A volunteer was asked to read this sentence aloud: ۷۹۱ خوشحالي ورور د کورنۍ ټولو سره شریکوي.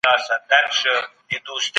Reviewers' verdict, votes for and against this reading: rejected, 0, 2